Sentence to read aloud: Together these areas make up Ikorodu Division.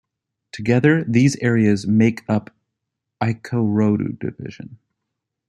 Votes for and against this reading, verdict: 2, 0, accepted